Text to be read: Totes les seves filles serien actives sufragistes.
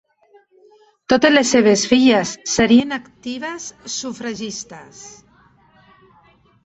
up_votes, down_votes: 1, 2